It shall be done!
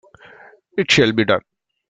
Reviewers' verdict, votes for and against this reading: accepted, 3, 0